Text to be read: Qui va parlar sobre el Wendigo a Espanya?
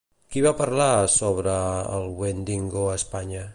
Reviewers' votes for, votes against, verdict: 1, 2, rejected